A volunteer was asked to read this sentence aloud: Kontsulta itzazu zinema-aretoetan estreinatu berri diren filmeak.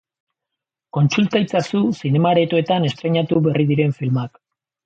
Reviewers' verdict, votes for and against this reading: rejected, 1, 2